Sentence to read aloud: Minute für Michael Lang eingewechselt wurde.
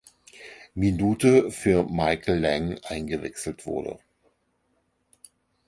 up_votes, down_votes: 2, 4